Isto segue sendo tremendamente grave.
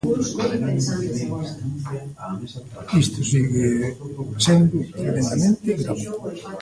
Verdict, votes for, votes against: rejected, 0, 2